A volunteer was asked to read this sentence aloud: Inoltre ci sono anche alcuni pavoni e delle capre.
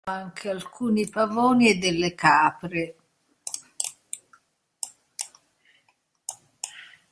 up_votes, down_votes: 0, 2